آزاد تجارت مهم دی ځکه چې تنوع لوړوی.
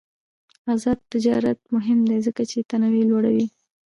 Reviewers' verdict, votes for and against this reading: rejected, 1, 2